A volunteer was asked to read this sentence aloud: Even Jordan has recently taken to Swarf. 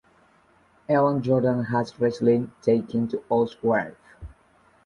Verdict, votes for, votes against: rejected, 1, 2